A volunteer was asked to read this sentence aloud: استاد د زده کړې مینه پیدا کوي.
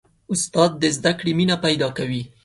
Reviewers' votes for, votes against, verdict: 2, 0, accepted